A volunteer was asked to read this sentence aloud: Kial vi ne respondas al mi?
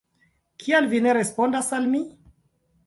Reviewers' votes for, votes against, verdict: 2, 0, accepted